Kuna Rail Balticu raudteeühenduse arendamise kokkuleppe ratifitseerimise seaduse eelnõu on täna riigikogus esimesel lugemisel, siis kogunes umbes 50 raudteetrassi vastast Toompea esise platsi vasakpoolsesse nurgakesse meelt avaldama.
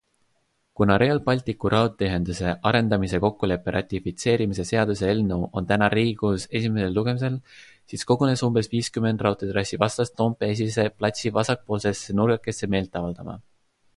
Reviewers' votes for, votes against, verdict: 0, 2, rejected